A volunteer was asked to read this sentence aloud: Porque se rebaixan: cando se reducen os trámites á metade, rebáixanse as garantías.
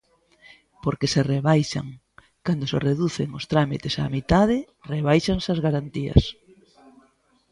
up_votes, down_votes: 1, 2